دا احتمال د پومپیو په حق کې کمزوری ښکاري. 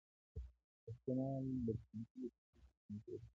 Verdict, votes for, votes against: rejected, 0, 2